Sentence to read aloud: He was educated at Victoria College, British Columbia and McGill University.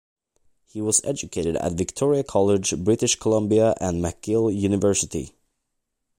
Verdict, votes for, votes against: accepted, 2, 0